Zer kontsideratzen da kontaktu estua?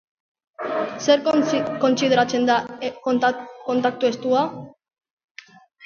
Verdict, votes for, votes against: rejected, 1, 3